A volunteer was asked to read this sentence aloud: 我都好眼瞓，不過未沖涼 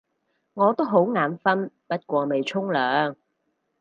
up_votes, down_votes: 4, 0